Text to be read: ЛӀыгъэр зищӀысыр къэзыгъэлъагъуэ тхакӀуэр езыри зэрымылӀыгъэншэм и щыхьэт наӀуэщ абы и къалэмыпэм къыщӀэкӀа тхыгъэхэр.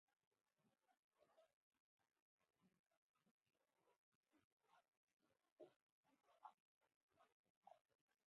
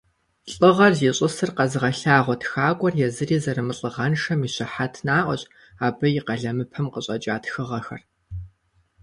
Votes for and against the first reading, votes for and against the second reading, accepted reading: 0, 4, 2, 0, second